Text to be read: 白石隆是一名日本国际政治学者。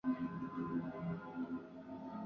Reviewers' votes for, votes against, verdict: 0, 2, rejected